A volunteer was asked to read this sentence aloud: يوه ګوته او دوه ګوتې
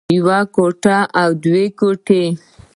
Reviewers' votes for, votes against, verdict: 2, 1, accepted